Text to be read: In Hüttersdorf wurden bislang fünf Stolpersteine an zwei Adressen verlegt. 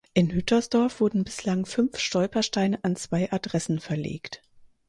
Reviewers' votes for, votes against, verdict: 4, 0, accepted